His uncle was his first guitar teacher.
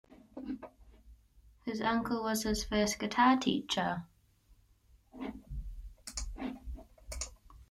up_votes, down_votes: 3, 1